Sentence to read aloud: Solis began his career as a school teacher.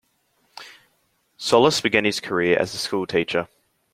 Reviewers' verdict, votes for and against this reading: accepted, 2, 0